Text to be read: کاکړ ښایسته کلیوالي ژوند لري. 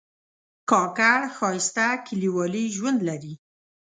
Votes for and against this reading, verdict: 2, 0, accepted